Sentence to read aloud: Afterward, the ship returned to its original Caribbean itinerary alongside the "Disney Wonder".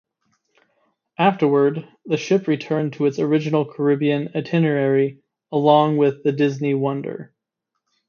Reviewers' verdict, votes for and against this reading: rejected, 0, 2